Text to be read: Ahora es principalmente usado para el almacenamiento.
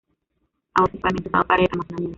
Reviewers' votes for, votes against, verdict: 1, 2, rejected